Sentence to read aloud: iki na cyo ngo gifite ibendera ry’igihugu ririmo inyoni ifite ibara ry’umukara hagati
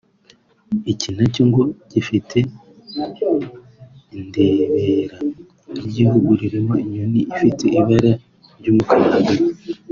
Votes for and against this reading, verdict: 1, 2, rejected